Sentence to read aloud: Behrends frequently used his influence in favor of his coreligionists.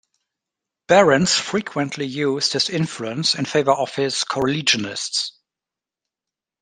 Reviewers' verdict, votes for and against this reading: rejected, 1, 2